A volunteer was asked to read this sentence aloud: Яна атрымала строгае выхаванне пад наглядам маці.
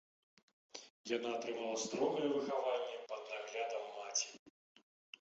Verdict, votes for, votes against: accepted, 2, 0